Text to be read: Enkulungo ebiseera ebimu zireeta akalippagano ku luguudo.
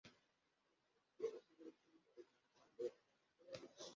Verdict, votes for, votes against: rejected, 0, 2